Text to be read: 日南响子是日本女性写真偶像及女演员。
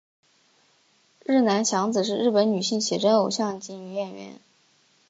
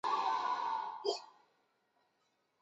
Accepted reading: first